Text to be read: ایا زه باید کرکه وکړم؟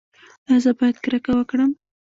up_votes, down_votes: 1, 2